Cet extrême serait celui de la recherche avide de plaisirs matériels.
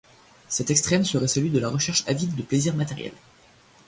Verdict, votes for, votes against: accepted, 2, 0